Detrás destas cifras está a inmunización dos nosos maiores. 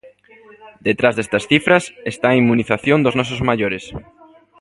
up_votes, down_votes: 1, 2